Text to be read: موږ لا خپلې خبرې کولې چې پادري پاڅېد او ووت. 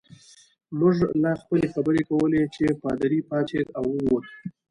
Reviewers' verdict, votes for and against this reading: accepted, 2, 0